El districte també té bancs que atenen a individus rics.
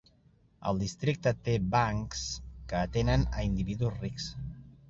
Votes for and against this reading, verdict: 0, 2, rejected